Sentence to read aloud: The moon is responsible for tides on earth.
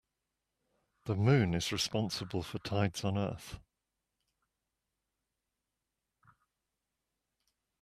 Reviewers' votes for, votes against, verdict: 2, 0, accepted